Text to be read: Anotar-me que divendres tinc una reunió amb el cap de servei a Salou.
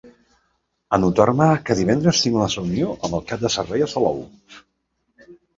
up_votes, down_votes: 0, 2